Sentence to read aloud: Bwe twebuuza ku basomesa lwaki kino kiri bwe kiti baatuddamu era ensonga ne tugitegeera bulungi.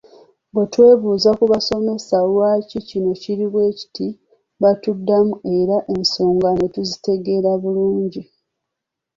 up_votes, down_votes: 1, 2